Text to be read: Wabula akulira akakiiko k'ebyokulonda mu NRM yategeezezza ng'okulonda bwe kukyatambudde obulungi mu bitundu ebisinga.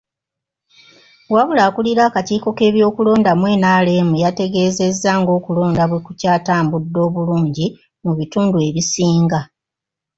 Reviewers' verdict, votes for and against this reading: accepted, 2, 0